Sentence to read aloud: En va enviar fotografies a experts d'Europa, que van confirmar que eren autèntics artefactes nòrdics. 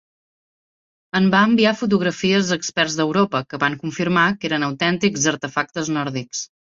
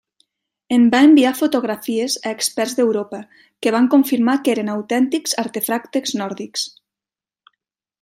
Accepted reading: first